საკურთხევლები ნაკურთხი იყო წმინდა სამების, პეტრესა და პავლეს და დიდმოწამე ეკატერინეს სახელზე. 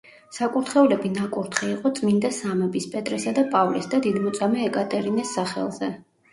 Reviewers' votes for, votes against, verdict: 1, 2, rejected